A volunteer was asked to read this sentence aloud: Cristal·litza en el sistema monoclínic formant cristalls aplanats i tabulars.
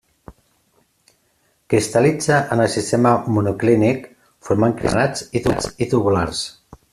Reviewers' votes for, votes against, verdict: 0, 2, rejected